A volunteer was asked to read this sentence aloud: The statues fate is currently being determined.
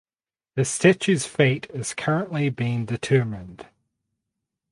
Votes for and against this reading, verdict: 6, 0, accepted